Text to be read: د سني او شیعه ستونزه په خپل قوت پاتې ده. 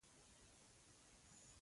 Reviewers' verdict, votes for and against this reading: rejected, 0, 2